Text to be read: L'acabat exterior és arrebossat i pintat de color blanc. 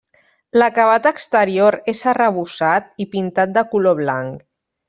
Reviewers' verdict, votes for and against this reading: accepted, 3, 0